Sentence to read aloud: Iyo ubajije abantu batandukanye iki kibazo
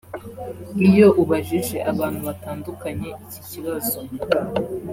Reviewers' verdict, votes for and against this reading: accepted, 4, 0